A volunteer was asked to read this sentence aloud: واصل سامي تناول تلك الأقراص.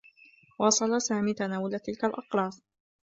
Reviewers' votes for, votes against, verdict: 0, 2, rejected